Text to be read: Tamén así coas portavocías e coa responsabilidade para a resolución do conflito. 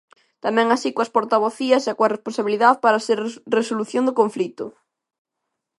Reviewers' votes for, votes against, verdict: 0, 2, rejected